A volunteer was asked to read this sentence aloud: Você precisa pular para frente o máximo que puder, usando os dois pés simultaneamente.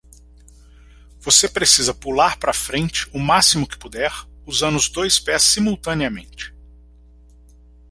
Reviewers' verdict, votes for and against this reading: rejected, 0, 2